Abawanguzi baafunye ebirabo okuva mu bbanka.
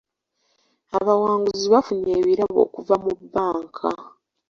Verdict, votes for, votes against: accepted, 2, 0